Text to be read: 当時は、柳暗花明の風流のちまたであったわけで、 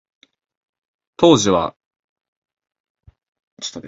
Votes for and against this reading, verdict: 0, 2, rejected